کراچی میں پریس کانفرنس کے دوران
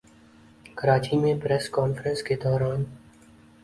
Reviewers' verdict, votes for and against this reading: accepted, 2, 0